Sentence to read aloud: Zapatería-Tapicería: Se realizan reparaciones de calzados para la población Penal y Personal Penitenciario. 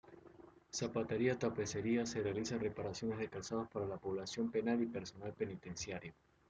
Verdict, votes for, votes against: rejected, 1, 2